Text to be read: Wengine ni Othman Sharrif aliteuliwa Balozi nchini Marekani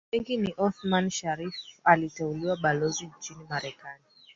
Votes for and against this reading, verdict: 1, 3, rejected